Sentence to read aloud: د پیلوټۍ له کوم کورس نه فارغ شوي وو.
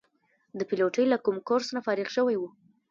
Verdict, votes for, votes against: accepted, 2, 0